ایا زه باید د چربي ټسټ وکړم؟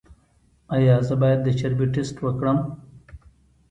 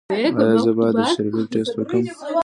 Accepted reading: first